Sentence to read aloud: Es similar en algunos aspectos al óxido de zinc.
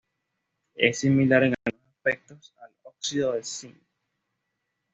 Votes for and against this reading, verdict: 1, 2, rejected